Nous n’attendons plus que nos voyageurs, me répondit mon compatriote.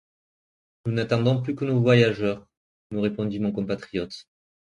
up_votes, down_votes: 2, 0